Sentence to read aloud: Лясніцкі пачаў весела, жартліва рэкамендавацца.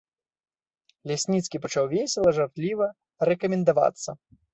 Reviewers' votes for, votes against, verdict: 1, 2, rejected